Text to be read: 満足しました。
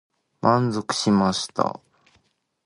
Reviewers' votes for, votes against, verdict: 2, 0, accepted